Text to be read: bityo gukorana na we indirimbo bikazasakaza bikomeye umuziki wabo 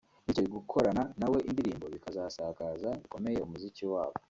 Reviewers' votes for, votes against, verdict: 2, 0, accepted